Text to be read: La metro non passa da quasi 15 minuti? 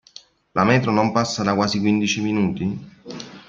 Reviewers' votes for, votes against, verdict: 0, 2, rejected